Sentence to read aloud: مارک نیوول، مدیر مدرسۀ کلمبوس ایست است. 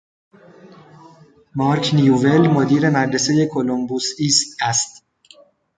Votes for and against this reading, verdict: 2, 0, accepted